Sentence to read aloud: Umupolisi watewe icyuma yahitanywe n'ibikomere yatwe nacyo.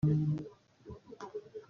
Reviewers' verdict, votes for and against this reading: rejected, 0, 2